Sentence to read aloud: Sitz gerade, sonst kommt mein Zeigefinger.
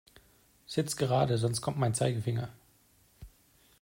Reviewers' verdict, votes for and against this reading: accepted, 2, 0